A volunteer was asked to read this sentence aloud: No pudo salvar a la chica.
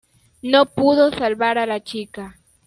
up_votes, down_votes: 2, 0